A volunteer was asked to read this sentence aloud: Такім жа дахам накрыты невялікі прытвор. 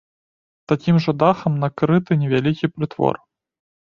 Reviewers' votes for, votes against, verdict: 2, 0, accepted